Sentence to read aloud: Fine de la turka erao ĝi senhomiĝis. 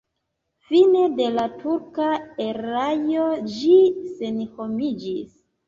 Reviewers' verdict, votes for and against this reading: rejected, 0, 2